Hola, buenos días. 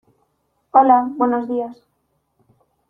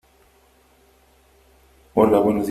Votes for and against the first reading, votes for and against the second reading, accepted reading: 2, 0, 0, 2, first